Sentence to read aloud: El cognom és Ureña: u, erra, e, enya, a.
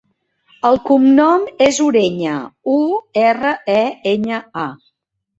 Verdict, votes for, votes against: accepted, 2, 0